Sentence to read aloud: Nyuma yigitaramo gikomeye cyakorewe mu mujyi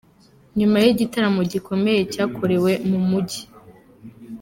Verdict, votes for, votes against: accepted, 2, 0